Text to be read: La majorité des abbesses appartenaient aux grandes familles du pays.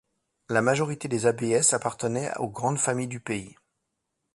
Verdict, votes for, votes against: rejected, 0, 2